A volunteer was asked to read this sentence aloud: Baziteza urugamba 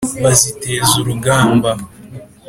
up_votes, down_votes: 2, 0